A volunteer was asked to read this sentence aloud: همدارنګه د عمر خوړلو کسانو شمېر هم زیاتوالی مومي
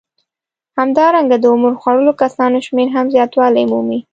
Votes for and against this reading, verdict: 2, 0, accepted